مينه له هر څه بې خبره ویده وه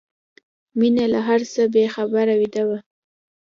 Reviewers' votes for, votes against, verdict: 2, 0, accepted